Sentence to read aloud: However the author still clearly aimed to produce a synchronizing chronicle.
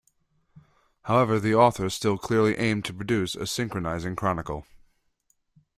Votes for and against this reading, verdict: 2, 0, accepted